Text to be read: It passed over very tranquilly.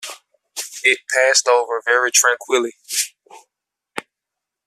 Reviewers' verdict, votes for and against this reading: accepted, 2, 0